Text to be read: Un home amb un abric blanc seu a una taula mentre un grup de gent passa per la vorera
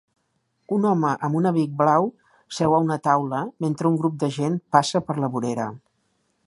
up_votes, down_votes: 1, 2